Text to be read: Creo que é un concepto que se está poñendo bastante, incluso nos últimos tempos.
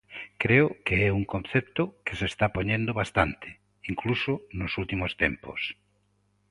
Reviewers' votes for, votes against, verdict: 2, 0, accepted